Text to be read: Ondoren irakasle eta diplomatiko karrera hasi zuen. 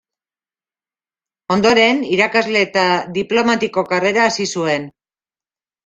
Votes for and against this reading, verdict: 2, 0, accepted